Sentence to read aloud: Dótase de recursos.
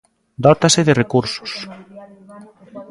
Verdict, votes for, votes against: rejected, 1, 2